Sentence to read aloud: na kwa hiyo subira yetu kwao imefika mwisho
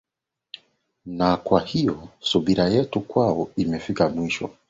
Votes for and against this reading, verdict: 7, 0, accepted